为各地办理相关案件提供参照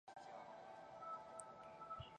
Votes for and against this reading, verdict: 0, 2, rejected